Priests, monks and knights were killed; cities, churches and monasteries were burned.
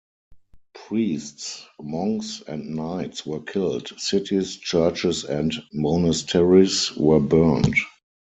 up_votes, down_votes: 4, 0